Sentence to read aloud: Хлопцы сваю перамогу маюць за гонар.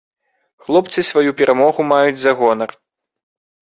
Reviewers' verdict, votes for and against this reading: accepted, 2, 0